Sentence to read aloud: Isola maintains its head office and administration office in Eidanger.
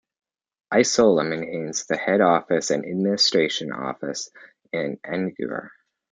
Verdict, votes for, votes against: rejected, 1, 2